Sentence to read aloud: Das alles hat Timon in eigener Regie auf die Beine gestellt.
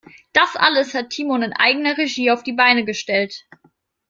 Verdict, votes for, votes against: accepted, 2, 1